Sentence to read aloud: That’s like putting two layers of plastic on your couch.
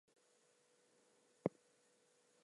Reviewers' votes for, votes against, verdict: 0, 8, rejected